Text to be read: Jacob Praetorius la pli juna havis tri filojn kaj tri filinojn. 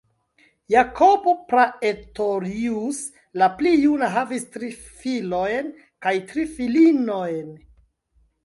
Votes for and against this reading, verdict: 2, 0, accepted